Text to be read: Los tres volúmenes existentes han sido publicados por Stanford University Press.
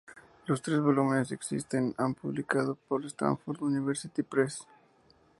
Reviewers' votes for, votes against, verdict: 0, 2, rejected